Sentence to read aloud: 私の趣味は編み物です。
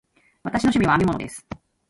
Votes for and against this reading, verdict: 1, 2, rejected